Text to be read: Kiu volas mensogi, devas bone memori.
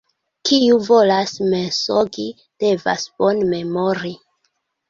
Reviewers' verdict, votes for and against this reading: accepted, 3, 0